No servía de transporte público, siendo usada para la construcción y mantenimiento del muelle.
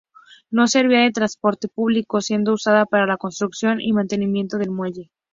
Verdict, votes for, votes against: accepted, 4, 0